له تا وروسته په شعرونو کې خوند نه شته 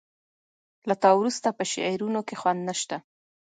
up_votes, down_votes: 2, 0